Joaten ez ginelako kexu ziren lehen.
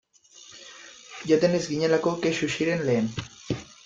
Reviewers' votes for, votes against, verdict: 2, 1, accepted